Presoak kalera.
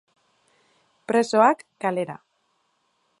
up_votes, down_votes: 2, 0